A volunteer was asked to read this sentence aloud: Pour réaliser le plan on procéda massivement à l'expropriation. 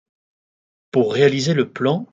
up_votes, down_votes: 0, 2